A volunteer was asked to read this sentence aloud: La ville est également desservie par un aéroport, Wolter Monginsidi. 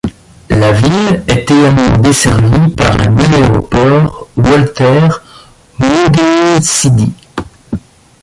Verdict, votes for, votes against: rejected, 0, 2